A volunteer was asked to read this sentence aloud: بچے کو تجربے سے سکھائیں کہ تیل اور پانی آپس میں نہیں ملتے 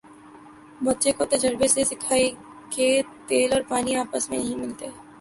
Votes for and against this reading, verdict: 2, 1, accepted